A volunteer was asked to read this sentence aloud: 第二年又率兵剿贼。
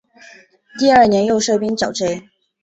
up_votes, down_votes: 1, 2